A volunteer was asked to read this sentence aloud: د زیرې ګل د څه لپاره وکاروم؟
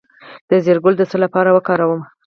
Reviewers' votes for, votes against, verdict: 0, 4, rejected